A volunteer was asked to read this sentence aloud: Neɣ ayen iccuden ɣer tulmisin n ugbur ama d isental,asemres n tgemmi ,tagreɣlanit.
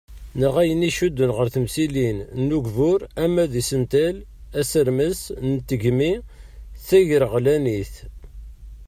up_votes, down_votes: 0, 2